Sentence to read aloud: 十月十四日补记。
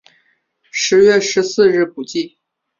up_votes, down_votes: 3, 0